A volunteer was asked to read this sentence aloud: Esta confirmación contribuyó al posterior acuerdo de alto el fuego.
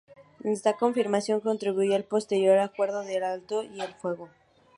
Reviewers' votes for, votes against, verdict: 4, 0, accepted